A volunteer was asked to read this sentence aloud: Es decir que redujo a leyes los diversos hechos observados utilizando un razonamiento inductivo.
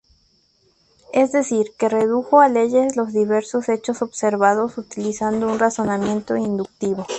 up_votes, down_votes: 2, 0